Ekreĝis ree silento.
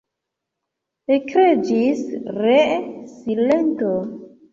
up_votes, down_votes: 2, 0